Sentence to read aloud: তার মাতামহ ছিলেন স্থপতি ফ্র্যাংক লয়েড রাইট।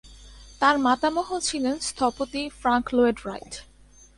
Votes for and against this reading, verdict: 2, 1, accepted